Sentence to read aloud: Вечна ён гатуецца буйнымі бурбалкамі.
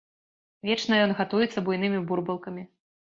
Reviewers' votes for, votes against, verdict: 2, 0, accepted